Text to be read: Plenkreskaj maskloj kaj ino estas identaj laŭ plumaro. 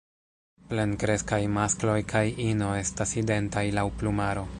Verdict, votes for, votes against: rejected, 0, 2